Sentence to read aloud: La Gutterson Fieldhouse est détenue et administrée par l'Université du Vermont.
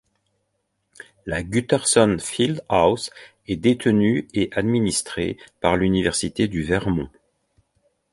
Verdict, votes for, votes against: accepted, 2, 0